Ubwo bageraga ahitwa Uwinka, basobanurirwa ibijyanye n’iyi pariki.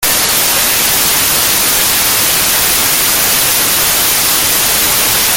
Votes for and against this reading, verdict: 0, 2, rejected